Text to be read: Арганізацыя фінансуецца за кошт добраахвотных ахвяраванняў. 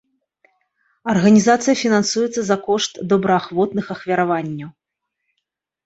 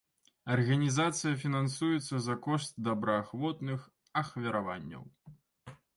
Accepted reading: second